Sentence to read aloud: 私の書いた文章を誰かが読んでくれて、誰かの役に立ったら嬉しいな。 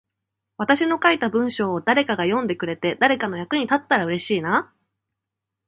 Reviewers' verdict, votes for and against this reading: accepted, 2, 0